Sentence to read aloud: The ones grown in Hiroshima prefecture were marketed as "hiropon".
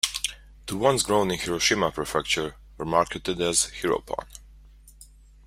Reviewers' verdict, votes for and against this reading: rejected, 1, 2